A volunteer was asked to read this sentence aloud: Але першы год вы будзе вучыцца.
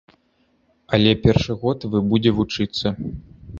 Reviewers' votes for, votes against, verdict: 1, 2, rejected